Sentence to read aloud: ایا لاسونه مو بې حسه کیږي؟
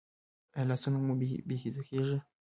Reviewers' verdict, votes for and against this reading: rejected, 0, 2